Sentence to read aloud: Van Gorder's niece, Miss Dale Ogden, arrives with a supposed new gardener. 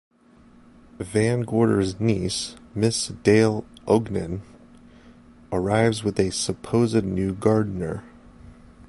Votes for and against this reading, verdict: 2, 0, accepted